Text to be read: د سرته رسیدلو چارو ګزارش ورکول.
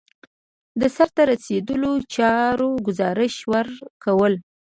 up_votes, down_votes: 2, 0